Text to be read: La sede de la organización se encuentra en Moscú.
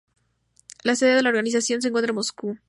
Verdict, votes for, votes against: accepted, 2, 0